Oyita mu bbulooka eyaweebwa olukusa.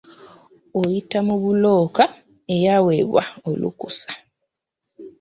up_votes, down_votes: 1, 2